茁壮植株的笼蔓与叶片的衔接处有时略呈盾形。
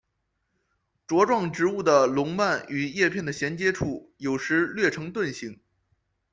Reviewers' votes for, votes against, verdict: 2, 1, accepted